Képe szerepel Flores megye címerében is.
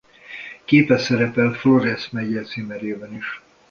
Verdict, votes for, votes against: rejected, 1, 2